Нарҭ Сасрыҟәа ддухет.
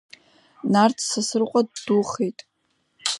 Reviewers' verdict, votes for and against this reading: accepted, 2, 0